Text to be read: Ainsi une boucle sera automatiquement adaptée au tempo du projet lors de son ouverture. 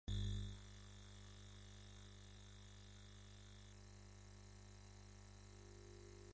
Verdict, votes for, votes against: rejected, 0, 2